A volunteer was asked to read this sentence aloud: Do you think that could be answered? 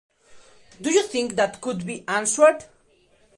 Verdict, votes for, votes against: accepted, 2, 0